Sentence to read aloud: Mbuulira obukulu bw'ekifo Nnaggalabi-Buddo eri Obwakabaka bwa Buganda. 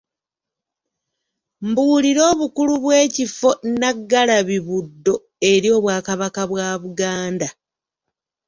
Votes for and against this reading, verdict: 2, 0, accepted